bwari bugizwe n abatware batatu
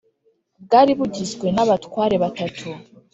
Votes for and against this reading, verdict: 4, 0, accepted